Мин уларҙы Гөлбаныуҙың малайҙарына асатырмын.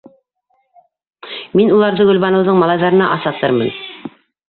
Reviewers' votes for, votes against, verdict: 0, 2, rejected